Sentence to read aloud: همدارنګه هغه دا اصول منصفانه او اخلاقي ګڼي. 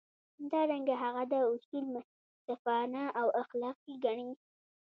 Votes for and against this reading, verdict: 1, 2, rejected